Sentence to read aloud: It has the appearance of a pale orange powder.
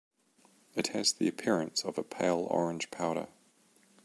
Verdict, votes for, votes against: accepted, 2, 0